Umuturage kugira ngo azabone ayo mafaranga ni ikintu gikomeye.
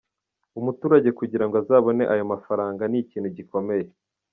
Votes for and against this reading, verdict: 2, 0, accepted